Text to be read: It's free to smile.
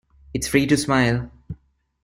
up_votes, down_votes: 2, 0